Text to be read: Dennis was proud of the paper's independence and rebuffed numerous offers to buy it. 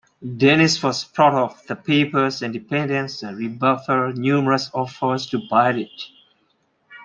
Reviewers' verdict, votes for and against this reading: rejected, 0, 2